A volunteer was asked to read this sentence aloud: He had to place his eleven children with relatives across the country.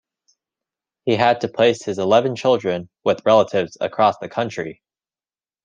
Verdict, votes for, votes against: accepted, 3, 0